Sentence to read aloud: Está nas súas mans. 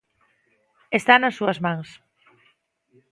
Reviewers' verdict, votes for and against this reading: accepted, 2, 0